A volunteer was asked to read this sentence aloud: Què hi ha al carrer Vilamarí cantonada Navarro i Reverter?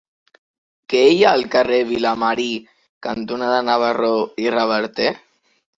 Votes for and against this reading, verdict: 2, 0, accepted